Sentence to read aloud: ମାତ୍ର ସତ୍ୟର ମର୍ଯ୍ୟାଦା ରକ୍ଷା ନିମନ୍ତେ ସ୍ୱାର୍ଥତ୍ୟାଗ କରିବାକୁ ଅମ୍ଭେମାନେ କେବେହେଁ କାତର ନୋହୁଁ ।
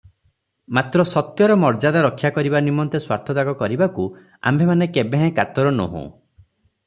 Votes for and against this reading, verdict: 0, 3, rejected